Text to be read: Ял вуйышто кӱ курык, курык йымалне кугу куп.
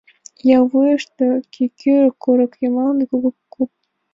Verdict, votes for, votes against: rejected, 0, 2